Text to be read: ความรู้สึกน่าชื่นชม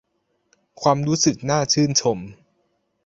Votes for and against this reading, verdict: 2, 0, accepted